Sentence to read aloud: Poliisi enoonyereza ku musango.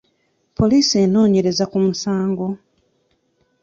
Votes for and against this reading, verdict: 3, 0, accepted